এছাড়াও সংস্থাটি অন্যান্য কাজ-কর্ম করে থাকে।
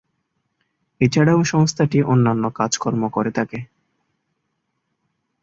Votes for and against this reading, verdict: 2, 0, accepted